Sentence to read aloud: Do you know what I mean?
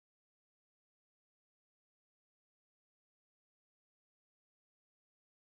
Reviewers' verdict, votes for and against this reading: rejected, 1, 5